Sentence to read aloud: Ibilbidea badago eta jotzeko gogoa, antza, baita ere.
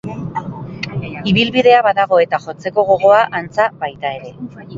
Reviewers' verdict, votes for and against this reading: accepted, 3, 0